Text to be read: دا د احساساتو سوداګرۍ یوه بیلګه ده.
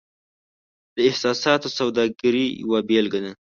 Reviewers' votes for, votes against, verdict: 2, 0, accepted